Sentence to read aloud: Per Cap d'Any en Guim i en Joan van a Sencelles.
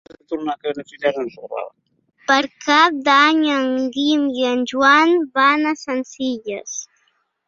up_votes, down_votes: 0, 2